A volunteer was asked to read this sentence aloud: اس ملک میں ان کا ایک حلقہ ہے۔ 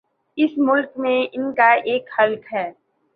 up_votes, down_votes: 1, 2